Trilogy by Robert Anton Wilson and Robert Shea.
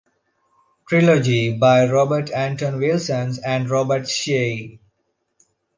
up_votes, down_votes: 2, 1